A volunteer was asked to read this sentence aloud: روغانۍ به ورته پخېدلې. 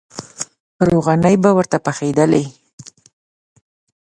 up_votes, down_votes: 2, 1